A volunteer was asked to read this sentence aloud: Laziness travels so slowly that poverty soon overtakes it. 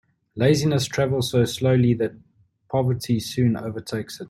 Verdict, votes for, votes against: accepted, 2, 0